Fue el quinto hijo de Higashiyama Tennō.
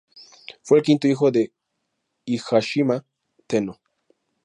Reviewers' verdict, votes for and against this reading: rejected, 0, 4